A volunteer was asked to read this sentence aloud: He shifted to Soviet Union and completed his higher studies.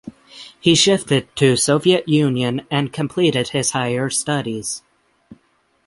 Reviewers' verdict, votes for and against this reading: accepted, 6, 0